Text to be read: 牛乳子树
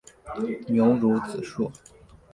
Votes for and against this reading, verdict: 3, 0, accepted